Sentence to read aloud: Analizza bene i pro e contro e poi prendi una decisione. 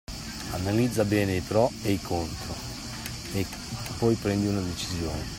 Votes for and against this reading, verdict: 2, 1, accepted